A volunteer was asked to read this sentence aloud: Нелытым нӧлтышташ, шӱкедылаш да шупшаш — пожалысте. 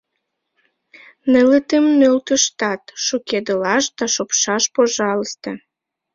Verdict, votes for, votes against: rejected, 3, 5